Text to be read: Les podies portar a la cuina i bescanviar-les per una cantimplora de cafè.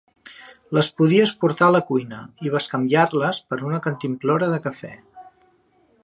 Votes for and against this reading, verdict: 2, 0, accepted